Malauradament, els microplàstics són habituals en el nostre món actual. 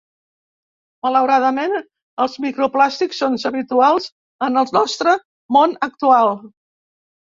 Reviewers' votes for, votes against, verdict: 1, 2, rejected